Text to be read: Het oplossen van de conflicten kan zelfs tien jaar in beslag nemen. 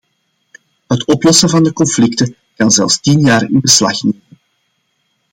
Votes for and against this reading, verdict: 2, 1, accepted